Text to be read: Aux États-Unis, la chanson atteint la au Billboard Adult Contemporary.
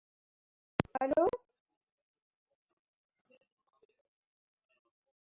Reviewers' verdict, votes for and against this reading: rejected, 0, 2